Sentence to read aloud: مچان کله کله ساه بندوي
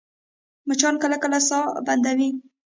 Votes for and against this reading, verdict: 3, 0, accepted